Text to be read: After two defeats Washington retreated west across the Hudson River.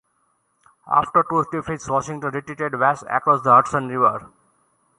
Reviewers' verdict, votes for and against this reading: rejected, 0, 2